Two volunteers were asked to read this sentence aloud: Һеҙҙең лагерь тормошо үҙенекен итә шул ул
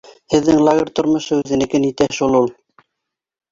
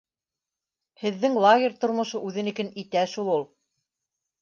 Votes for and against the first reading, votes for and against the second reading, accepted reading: 0, 2, 2, 0, second